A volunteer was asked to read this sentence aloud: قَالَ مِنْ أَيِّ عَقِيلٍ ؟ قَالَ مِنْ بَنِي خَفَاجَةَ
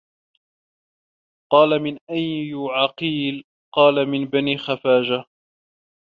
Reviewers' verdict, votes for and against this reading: rejected, 1, 2